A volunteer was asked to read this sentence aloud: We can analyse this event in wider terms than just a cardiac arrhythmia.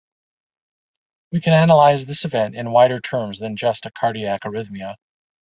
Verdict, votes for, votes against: rejected, 1, 2